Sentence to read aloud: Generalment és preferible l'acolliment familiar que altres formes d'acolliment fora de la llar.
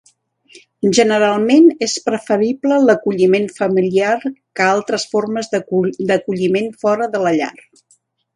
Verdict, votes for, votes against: rejected, 0, 2